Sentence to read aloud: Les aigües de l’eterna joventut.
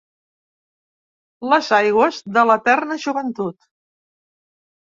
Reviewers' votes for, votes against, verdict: 3, 0, accepted